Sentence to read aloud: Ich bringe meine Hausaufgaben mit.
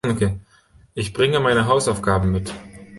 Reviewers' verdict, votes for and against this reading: accepted, 2, 0